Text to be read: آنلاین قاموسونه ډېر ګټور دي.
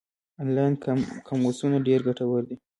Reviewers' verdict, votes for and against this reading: rejected, 0, 2